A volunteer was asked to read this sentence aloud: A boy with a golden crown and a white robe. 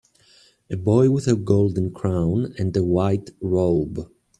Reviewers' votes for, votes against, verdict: 2, 0, accepted